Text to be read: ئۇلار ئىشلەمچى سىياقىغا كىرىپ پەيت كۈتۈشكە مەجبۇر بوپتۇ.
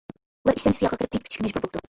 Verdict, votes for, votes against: rejected, 0, 2